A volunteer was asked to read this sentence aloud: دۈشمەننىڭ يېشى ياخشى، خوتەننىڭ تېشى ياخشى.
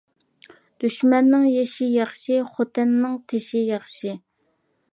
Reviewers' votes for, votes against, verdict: 2, 0, accepted